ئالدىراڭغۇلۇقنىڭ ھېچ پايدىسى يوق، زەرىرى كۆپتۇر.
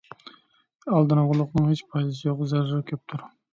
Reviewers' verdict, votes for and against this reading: rejected, 0, 2